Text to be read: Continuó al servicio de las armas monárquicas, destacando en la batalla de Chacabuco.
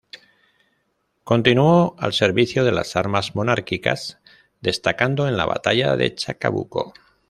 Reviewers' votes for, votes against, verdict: 1, 2, rejected